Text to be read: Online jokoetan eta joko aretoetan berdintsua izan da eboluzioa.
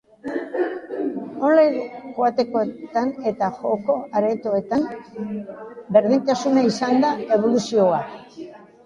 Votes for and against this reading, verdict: 0, 2, rejected